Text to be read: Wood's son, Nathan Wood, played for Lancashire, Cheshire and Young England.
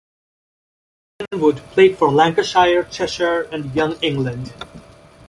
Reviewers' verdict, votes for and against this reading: rejected, 0, 2